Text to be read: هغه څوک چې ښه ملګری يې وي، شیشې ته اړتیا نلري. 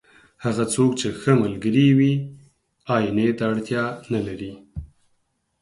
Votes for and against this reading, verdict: 0, 4, rejected